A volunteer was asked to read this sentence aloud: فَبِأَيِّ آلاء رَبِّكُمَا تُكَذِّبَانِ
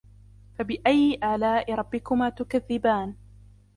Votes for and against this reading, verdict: 2, 0, accepted